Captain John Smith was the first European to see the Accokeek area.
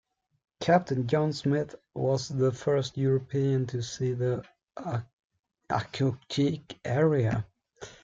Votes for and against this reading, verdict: 1, 2, rejected